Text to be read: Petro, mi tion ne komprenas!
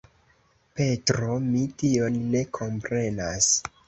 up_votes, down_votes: 2, 0